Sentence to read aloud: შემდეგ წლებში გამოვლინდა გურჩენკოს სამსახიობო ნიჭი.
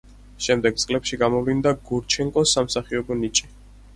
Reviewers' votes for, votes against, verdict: 4, 0, accepted